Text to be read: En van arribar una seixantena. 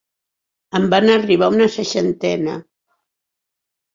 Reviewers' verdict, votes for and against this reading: accepted, 4, 0